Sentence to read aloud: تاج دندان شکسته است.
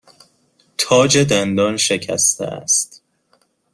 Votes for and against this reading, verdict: 2, 0, accepted